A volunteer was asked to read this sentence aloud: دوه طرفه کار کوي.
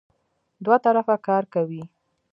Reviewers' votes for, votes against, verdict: 2, 0, accepted